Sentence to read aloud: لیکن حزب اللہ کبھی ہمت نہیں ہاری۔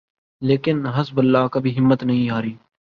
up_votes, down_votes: 2, 0